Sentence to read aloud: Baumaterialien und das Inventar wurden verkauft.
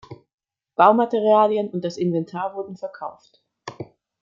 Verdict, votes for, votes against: accepted, 2, 0